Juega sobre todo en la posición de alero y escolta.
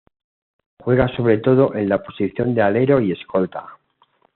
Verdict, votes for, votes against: accepted, 2, 0